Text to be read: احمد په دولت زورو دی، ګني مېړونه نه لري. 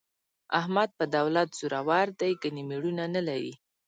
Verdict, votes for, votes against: accepted, 2, 0